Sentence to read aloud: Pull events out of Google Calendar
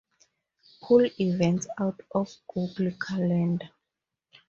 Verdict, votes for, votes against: accepted, 2, 0